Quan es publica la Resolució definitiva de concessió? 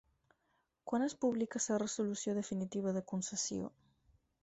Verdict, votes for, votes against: rejected, 2, 4